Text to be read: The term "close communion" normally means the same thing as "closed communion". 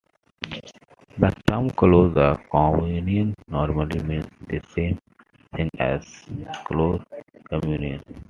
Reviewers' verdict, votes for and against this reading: rejected, 0, 2